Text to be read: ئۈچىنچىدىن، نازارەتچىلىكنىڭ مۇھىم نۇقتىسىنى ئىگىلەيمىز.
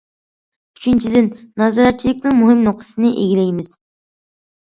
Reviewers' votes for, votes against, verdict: 2, 0, accepted